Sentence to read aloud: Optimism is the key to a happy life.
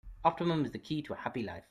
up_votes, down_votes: 1, 2